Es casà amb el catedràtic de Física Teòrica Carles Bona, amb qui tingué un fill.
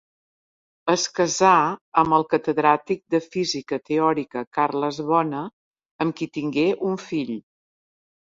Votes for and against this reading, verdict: 4, 0, accepted